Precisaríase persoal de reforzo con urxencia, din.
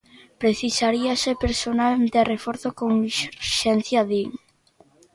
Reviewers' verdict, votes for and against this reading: rejected, 0, 2